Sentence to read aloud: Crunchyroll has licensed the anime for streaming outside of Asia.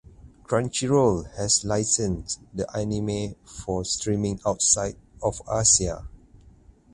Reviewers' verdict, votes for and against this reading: rejected, 2, 4